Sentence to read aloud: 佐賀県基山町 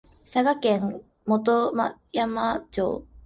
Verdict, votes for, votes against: rejected, 1, 2